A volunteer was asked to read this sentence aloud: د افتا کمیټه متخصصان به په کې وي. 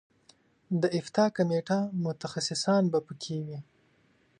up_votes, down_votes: 3, 0